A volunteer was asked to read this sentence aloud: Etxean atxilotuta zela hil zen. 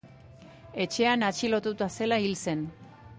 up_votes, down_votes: 1, 2